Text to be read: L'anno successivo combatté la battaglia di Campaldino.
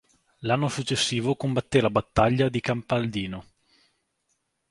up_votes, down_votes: 2, 0